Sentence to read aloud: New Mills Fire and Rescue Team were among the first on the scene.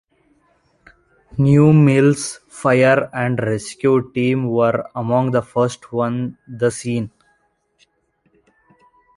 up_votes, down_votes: 2, 0